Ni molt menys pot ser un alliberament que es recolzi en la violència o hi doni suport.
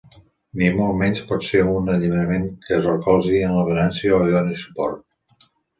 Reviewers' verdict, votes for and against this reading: accepted, 2, 1